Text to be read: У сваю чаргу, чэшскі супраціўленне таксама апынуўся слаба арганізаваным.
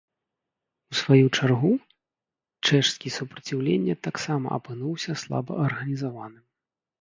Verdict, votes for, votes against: rejected, 1, 2